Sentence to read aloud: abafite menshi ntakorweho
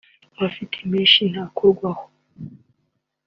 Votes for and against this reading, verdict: 2, 0, accepted